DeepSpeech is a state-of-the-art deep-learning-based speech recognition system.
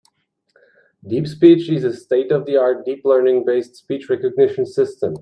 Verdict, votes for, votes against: accepted, 2, 1